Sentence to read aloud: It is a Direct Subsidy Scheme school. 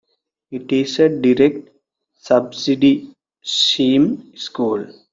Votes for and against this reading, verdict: 0, 2, rejected